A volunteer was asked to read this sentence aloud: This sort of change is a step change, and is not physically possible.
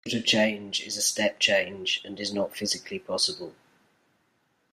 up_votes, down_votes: 0, 2